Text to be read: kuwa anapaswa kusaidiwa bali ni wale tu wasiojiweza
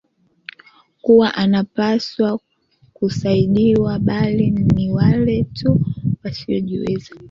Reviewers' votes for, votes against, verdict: 3, 0, accepted